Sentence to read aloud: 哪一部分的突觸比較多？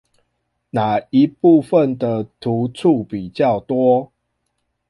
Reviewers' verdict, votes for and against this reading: accepted, 2, 0